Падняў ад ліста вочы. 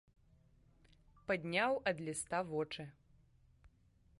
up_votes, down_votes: 2, 0